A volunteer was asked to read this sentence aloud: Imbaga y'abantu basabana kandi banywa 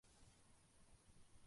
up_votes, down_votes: 0, 2